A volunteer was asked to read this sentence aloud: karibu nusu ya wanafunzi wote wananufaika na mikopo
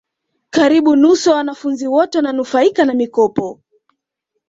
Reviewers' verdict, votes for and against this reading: accepted, 2, 0